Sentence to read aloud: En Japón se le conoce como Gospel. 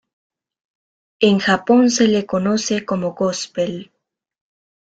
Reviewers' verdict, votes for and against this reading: accepted, 2, 0